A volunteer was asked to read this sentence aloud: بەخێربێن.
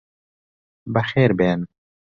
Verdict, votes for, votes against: accepted, 2, 1